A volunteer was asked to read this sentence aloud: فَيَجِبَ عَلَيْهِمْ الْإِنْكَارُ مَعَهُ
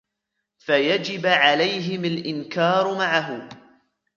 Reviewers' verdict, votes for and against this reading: rejected, 1, 2